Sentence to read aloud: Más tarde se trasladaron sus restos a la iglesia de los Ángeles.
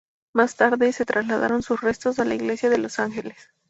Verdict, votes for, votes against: accepted, 2, 0